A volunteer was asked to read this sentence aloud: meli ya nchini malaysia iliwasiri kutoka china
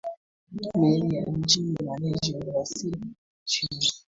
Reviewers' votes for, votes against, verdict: 1, 2, rejected